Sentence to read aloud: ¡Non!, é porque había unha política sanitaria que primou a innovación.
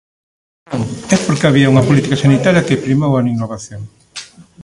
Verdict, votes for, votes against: rejected, 0, 2